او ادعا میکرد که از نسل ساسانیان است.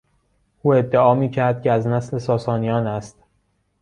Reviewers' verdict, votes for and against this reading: accepted, 2, 0